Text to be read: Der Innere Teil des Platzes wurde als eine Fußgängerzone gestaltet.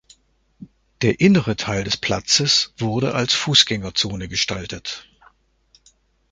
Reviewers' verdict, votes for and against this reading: rejected, 0, 2